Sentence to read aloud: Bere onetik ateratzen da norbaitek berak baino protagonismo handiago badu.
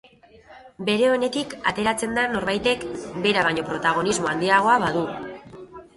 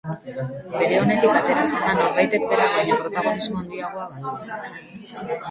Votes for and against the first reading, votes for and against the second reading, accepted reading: 3, 1, 0, 2, first